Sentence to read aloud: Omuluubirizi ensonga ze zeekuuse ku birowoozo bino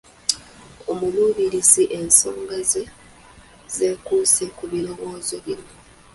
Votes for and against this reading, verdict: 2, 0, accepted